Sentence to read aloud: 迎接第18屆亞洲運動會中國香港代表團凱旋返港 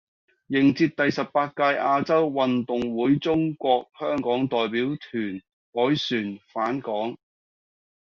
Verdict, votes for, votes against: rejected, 0, 2